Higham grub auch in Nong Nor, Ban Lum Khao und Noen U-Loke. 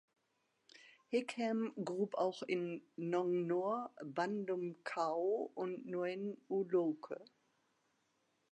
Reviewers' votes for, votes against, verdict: 2, 1, accepted